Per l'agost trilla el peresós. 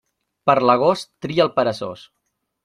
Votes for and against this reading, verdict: 1, 2, rejected